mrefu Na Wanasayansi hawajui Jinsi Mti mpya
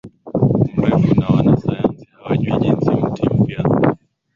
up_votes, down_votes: 2, 0